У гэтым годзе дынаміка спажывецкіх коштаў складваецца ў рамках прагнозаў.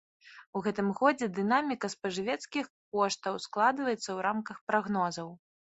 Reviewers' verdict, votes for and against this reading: accepted, 3, 0